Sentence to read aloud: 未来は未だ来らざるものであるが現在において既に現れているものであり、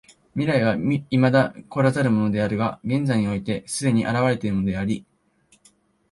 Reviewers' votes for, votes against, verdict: 2, 1, accepted